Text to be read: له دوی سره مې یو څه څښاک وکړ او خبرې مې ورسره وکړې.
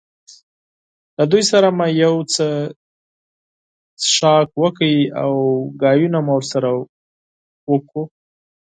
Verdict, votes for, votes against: rejected, 2, 4